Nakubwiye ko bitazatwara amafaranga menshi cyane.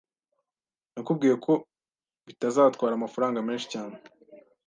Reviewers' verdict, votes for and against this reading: accepted, 2, 0